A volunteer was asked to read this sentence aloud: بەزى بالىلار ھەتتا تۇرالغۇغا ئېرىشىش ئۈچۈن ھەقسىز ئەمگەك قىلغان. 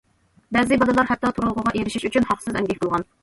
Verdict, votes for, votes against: rejected, 1, 2